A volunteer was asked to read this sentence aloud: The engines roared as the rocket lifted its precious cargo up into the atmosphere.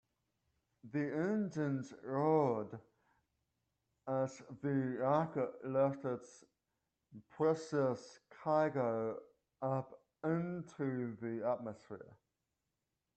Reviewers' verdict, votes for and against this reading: rejected, 0, 2